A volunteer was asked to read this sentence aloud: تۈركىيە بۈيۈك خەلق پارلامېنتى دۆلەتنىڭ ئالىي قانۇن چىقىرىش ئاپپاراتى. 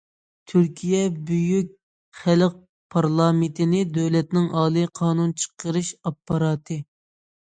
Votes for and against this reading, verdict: 0, 2, rejected